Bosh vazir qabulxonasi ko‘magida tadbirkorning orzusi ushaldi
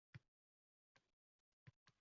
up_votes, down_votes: 0, 2